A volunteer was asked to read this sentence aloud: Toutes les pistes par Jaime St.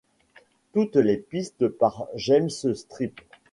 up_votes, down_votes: 0, 2